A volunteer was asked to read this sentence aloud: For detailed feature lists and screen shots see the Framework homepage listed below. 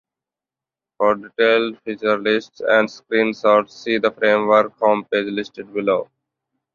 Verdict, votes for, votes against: rejected, 1, 2